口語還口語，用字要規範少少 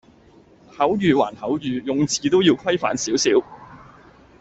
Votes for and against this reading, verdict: 0, 2, rejected